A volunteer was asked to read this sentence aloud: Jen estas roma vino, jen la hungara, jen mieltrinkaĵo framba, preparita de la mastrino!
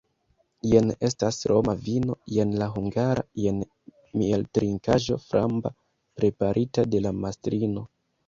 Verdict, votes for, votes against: accepted, 2, 0